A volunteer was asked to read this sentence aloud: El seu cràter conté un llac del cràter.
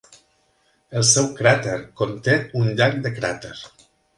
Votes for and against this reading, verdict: 0, 2, rejected